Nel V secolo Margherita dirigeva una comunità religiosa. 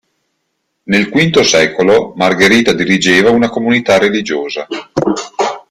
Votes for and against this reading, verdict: 2, 0, accepted